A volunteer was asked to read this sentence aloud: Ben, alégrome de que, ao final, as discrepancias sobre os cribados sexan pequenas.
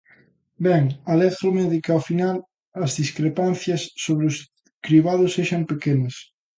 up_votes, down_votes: 2, 0